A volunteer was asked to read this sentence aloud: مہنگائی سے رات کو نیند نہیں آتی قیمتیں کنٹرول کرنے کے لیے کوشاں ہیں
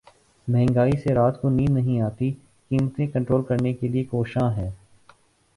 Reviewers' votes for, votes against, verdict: 2, 0, accepted